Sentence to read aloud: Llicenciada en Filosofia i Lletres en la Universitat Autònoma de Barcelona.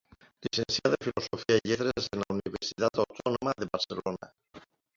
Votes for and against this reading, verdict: 0, 2, rejected